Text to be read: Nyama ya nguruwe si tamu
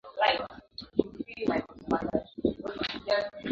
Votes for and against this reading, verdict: 0, 2, rejected